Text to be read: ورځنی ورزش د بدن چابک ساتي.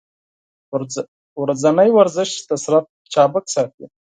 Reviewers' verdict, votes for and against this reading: rejected, 2, 4